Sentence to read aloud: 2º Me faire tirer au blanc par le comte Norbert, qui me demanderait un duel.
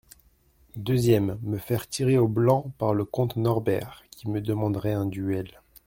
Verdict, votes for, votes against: rejected, 0, 2